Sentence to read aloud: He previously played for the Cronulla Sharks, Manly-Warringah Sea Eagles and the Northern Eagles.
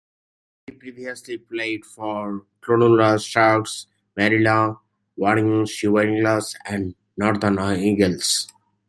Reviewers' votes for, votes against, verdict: 0, 2, rejected